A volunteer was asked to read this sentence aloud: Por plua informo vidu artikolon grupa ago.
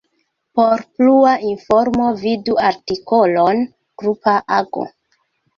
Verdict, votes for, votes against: accepted, 2, 0